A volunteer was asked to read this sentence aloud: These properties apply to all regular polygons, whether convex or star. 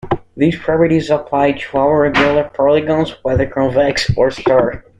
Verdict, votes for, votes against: rejected, 0, 2